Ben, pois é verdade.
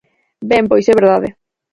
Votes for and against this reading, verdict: 4, 2, accepted